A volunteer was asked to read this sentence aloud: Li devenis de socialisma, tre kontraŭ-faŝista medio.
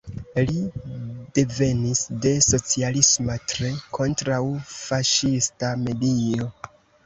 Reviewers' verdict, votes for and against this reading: accepted, 2, 1